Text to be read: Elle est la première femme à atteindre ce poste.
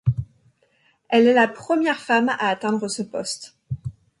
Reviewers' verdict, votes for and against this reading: accepted, 2, 0